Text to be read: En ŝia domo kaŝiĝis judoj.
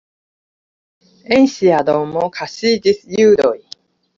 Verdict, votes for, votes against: accepted, 2, 1